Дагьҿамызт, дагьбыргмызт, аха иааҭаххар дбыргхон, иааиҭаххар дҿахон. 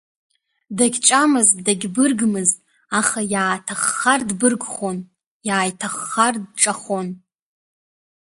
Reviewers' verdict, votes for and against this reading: accepted, 2, 0